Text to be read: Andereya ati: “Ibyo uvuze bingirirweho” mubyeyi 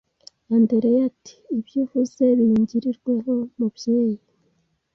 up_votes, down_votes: 2, 0